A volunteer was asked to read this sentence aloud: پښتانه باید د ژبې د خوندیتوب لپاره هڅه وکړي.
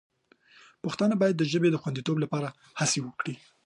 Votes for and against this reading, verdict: 2, 0, accepted